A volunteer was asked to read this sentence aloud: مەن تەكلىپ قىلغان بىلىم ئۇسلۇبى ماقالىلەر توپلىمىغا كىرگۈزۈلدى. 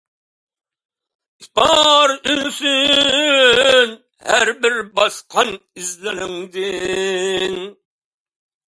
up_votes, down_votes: 0, 2